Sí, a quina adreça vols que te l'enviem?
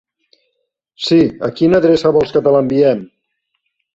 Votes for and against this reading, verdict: 3, 0, accepted